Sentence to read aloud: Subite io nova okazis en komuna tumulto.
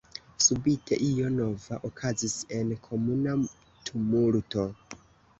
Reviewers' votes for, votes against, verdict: 1, 2, rejected